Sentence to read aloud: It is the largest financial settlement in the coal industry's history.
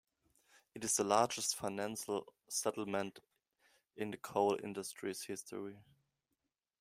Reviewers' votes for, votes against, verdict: 1, 2, rejected